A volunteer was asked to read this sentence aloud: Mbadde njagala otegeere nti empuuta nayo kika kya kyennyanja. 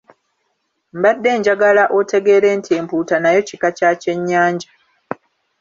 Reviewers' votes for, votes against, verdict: 3, 0, accepted